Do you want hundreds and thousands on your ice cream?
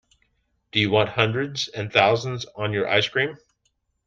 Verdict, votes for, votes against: accepted, 2, 0